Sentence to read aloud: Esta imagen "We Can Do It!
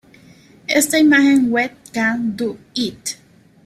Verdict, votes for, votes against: rejected, 1, 2